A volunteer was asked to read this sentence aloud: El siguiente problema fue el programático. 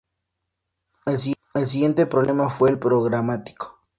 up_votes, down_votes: 0, 2